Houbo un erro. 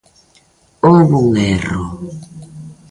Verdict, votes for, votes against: rejected, 0, 2